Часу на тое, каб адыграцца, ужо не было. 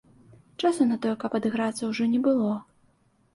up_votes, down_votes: 2, 0